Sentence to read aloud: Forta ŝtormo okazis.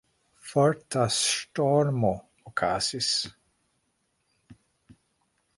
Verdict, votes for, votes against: rejected, 1, 2